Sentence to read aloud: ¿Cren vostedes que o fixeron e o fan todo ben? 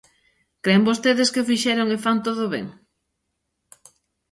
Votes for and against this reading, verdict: 0, 2, rejected